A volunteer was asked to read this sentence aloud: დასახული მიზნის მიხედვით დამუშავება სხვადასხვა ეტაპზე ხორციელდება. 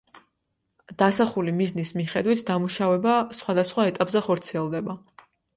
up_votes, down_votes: 2, 0